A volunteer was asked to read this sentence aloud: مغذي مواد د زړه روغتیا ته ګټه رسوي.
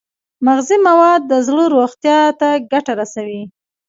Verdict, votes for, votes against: accepted, 2, 0